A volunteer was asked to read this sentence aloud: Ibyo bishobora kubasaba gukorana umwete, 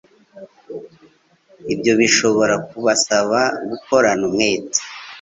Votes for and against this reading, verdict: 2, 0, accepted